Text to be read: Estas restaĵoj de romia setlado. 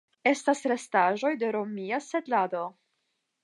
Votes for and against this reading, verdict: 10, 0, accepted